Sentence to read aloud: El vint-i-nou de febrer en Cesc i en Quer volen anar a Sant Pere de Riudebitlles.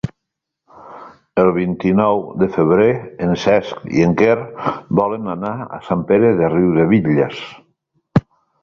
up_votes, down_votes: 3, 0